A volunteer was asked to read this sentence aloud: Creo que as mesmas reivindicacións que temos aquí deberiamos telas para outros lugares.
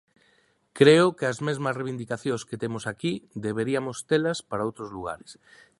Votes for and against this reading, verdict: 0, 2, rejected